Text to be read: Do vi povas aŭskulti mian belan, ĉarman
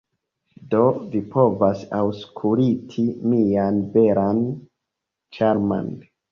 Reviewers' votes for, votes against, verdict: 0, 2, rejected